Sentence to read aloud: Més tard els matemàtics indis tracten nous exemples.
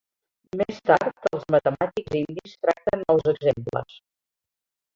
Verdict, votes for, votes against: rejected, 0, 2